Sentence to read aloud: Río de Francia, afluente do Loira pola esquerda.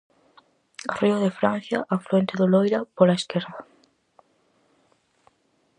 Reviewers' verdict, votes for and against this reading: accepted, 4, 0